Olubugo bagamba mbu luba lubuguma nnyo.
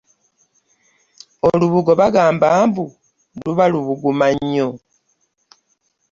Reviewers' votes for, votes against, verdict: 2, 0, accepted